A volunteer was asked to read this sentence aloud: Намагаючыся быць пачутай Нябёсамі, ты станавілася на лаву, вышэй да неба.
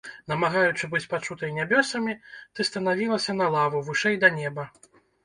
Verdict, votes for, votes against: rejected, 0, 2